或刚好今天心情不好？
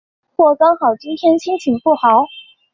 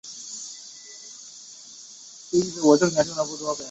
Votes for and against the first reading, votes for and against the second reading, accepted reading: 2, 0, 1, 2, first